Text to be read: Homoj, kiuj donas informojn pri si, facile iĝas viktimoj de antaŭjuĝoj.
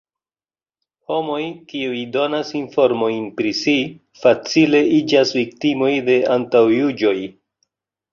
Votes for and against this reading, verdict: 2, 0, accepted